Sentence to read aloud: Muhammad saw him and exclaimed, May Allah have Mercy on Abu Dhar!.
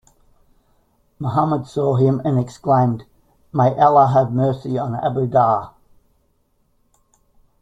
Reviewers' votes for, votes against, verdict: 2, 0, accepted